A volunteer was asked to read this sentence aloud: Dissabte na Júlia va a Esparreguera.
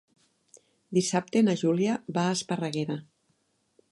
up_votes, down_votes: 3, 0